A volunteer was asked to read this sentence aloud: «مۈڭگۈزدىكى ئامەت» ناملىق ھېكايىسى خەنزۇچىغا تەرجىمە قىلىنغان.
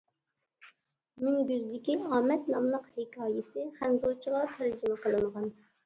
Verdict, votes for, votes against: accepted, 2, 1